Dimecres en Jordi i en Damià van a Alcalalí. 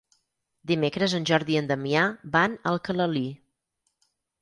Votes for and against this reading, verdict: 4, 0, accepted